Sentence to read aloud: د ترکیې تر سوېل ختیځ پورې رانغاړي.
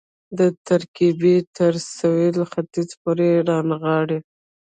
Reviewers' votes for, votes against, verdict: 0, 2, rejected